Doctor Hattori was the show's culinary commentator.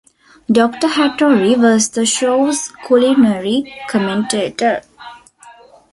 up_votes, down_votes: 3, 2